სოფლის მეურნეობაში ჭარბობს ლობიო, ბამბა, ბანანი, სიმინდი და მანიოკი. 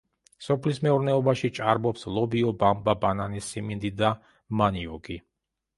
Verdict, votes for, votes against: accepted, 2, 0